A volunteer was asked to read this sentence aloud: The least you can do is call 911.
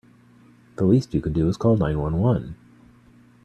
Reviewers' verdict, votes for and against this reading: rejected, 0, 2